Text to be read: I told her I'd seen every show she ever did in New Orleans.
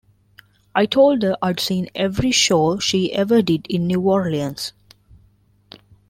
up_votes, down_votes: 2, 0